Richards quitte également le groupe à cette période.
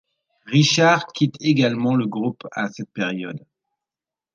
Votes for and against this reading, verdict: 2, 1, accepted